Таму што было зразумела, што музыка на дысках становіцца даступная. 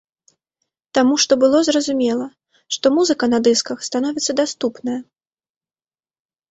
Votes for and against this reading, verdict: 2, 0, accepted